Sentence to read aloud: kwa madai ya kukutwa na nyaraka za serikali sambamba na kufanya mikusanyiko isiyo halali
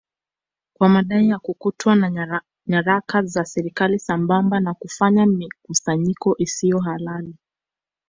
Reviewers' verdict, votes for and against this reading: accepted, 2, 0